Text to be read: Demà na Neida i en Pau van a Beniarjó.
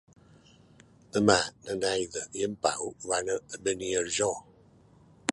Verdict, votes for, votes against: accepted, 2, 1